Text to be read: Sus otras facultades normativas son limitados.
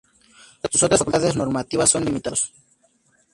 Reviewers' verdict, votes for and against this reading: rejected, 0, 2